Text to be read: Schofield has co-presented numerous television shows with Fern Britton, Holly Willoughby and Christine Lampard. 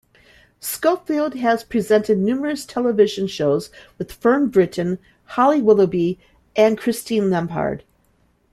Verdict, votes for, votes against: accepted, 2, 1